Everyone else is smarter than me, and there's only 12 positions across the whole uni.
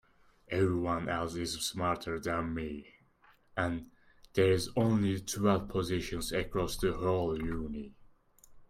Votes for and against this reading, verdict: 0, 2, rejected